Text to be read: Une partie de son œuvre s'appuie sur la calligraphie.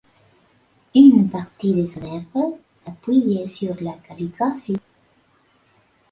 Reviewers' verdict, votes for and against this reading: accepted, 2, 0